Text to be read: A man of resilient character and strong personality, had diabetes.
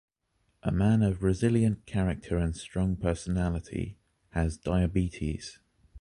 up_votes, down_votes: 0, 2